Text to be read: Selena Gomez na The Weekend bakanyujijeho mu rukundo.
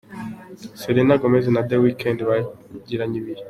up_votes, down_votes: 0, 4